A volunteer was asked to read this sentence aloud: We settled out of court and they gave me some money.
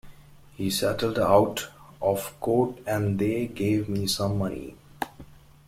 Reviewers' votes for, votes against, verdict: 0, 2, rejected